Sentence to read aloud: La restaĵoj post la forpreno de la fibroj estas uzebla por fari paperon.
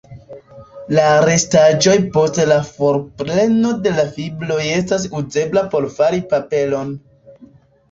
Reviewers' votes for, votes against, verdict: 2, 0, accepted